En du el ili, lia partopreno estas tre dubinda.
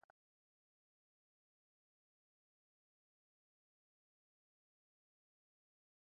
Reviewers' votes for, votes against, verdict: 2, 1, accepted